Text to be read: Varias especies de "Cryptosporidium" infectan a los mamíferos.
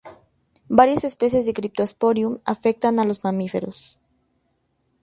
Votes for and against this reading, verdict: 0, 2, rejected